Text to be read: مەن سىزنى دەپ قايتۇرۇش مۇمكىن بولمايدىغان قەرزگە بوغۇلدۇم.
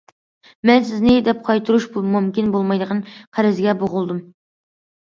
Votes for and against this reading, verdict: 2, 0, accepted